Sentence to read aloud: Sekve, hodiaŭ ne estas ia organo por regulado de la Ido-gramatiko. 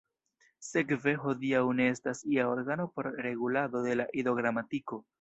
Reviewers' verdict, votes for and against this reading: accepted, 2, 0